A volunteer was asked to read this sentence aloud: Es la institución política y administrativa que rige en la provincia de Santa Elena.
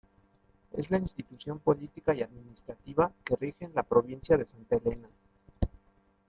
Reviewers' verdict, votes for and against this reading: accepted, 2, 0